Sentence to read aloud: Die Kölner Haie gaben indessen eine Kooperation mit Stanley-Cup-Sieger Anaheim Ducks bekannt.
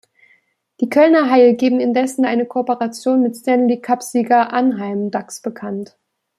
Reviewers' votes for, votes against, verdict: 0, 2, rejected